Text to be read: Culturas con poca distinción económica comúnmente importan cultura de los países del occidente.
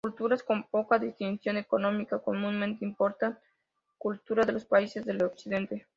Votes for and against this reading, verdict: 2, 0, accepted